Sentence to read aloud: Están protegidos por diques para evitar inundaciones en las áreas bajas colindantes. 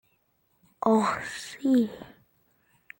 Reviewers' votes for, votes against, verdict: 0, 2, rejected